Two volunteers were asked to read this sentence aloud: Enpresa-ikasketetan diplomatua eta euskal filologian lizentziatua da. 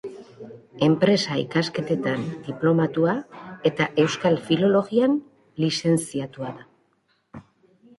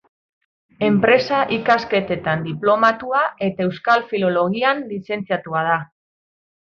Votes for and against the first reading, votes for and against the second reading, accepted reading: 0, 2, 2, 0, second